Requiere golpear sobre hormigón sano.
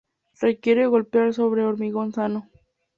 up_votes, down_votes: 2, 0